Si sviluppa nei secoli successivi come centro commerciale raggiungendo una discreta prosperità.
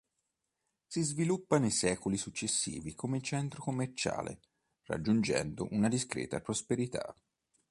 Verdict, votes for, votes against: accepted, 2, 0